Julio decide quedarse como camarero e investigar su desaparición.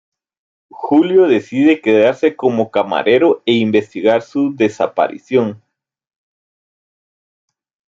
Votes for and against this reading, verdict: 2, 0, accepted